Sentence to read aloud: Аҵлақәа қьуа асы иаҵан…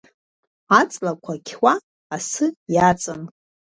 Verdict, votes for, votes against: accepted, 2, 0